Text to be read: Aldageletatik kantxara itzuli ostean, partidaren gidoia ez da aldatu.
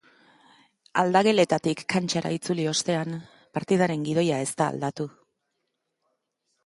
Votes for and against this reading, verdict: 3, 0, accepted